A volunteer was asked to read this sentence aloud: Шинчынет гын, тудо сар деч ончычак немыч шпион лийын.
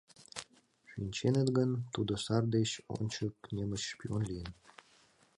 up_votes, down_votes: 0, 2